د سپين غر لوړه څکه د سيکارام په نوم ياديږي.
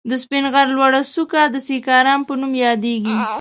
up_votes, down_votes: 2, 0